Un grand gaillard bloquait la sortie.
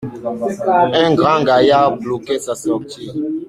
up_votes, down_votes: 0, 2